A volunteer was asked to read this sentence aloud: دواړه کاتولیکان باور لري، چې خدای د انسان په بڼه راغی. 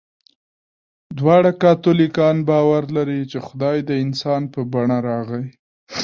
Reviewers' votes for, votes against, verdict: 0, 2, rejected